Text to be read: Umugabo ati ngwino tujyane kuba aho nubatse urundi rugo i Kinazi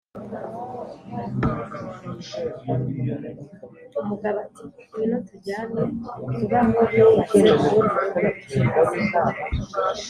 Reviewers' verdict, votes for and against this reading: rejected, 0, 3